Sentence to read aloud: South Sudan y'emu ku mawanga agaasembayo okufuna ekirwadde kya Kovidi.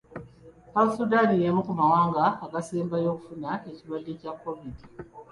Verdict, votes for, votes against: accepted, 2, 0